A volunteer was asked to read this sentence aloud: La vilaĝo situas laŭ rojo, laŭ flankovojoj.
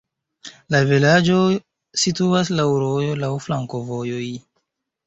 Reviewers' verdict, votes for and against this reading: rejected, 0, 2